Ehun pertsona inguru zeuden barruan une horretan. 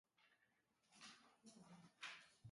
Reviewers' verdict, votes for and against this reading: rejected, 0, 4